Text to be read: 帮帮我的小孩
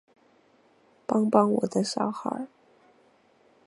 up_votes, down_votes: 6, 1